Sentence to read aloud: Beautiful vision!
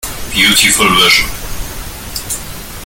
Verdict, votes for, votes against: rejected, 1, 2